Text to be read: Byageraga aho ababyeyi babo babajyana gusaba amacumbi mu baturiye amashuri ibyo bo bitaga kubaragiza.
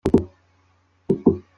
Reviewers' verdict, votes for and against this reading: rejected, 0, 2